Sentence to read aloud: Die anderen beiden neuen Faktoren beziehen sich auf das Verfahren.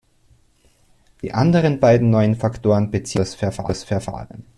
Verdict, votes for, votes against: rejected, 0, 2